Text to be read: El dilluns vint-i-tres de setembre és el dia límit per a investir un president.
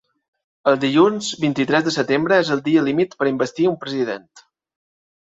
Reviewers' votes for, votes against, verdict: 4, 0, accepted